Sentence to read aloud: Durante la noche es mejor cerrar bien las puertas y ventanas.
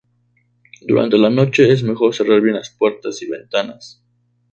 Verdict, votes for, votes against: accepted, 2, 0